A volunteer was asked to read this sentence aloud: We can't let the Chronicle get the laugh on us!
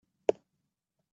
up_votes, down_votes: 0, 2